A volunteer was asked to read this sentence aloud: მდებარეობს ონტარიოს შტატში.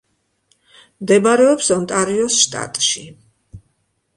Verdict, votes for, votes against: accepted, 2, 0